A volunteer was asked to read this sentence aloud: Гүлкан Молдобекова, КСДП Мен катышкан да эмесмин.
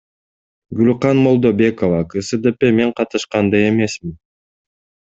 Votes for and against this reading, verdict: 2, 0, accepted